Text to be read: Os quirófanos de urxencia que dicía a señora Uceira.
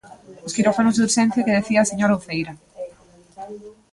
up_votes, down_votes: 1, 2